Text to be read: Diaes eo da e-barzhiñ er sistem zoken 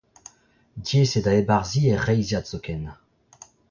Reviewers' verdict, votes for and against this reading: rejected, 0, 2